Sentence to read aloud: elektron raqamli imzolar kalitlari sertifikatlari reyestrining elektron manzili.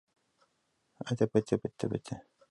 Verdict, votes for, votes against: rejected, 0, 2